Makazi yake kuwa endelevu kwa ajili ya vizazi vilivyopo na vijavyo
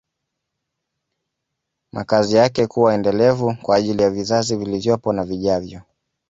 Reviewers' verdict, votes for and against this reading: accepted, 2, 0